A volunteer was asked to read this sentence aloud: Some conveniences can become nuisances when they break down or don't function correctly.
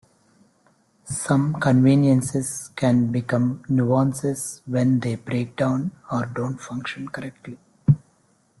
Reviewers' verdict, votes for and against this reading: rejected, 1, 2